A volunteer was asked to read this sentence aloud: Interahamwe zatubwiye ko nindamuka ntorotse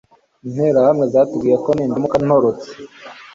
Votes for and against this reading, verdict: 2, 0, accepted